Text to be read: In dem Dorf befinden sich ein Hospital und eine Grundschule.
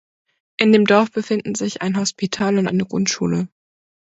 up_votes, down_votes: 2, 0